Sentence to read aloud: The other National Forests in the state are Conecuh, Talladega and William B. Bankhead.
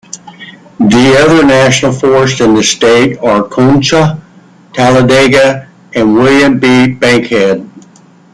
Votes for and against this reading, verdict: 2, 1, accepted